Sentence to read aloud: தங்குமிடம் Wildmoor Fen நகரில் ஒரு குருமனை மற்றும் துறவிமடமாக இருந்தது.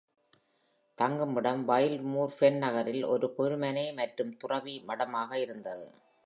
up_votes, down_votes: 2, 0